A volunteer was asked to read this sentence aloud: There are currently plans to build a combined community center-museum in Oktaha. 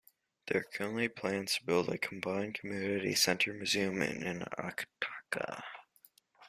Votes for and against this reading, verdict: 0, 3, rejected